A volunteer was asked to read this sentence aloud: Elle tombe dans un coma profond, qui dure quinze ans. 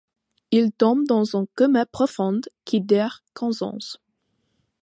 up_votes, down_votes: 1, 2